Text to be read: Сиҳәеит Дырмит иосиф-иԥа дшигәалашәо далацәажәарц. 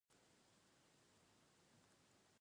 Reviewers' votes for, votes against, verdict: 1, 2, rejected